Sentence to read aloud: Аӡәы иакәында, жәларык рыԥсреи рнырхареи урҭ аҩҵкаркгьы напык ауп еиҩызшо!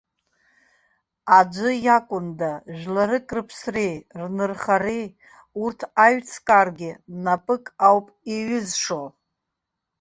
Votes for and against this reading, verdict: 0, 2, rejected